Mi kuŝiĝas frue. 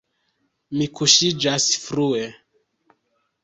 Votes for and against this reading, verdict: 2, 0, accepted